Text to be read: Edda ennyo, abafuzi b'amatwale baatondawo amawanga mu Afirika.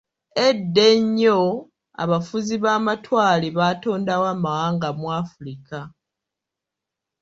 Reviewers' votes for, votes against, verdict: 1, 2, rejected